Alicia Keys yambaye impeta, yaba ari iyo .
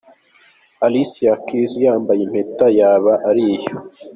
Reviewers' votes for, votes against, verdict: 3, 0, accepted